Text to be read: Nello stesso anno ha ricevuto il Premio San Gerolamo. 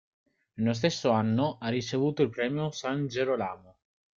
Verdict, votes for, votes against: rejected, 0, 2